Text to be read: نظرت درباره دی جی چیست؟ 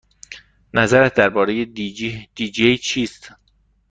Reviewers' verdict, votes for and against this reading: accepted, 2, 0